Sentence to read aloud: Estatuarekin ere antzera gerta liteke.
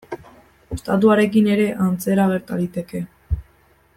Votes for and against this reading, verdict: 2, 0, accepted